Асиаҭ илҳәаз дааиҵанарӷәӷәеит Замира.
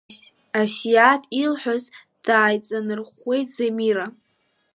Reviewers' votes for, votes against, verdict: 3, 0, accepted